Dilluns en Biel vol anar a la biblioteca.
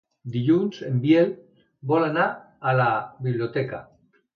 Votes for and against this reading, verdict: 2, 0, accepted